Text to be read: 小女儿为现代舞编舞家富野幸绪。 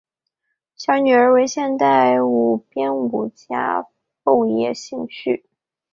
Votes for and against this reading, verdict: 2, 1, accepted